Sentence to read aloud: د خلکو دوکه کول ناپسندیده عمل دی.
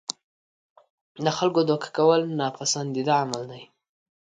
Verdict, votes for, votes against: accepted, 2, 0